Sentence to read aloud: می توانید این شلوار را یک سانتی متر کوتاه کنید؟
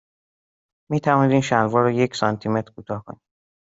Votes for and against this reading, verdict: 1, 2, rejected